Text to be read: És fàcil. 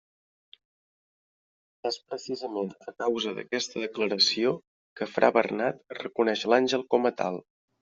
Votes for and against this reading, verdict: 0, 2, rejected